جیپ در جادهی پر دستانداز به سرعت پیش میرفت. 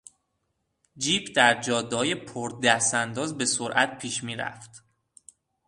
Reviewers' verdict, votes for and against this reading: rejected, 0, 3